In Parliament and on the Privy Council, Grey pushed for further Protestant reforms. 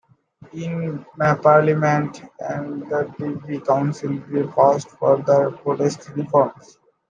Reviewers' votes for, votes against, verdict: 0, 2, rejected